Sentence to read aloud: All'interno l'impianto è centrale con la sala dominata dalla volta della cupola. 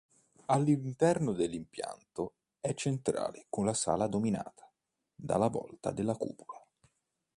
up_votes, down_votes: 0, 2